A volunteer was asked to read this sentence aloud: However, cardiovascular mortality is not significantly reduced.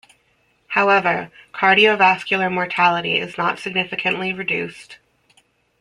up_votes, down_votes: 2, 0